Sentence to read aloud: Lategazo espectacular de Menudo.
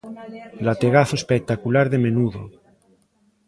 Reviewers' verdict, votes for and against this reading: rejected, 1, 2